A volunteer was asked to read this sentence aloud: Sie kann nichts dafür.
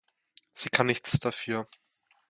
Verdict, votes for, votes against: accepted, 2, 0